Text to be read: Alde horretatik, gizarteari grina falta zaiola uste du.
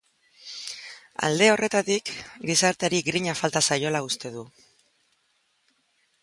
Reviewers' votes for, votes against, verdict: 5, 0, accepted